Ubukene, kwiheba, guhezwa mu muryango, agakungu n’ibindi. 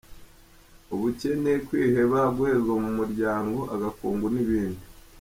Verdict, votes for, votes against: accepted, 2, 0